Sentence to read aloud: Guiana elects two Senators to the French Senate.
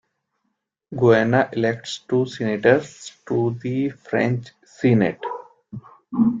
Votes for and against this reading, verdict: 1, 2, rejected